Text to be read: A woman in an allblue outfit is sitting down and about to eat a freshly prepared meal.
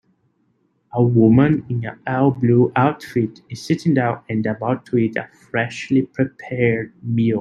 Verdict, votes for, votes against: rejected, 1, 2